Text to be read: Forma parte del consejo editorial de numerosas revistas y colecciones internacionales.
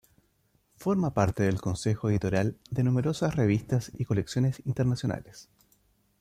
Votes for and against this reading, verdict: 2, 0, accepted